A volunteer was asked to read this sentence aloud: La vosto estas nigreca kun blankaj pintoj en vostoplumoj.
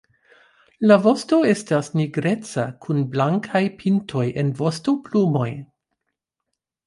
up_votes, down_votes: 2, 0